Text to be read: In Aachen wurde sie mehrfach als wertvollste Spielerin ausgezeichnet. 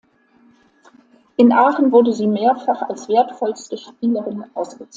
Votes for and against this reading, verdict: 1, 2, rejected